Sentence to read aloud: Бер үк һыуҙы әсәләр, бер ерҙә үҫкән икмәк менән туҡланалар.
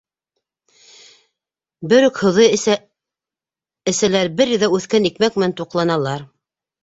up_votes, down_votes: 1, 2